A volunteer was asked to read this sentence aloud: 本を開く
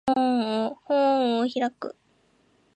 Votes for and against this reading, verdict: 1, 2, rejected